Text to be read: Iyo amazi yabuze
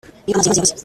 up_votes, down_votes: 0, 2